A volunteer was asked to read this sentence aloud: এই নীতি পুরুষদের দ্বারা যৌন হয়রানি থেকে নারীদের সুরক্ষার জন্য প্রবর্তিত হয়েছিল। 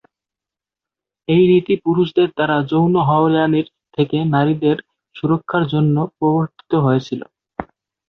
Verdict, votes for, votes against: rejected, 4, 10